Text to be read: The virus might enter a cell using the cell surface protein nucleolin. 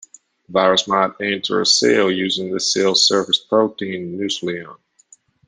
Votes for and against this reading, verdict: 0, 2, rejected